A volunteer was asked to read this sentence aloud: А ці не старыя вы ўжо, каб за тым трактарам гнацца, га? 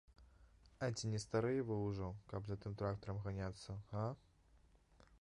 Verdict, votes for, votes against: rejected, 0, 2